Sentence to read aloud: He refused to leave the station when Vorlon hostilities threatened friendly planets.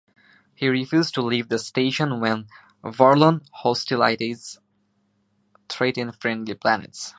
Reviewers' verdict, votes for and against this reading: rejected, 1, 2